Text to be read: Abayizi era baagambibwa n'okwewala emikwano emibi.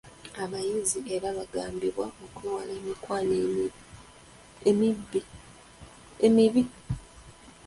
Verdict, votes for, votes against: rejected, 0, 2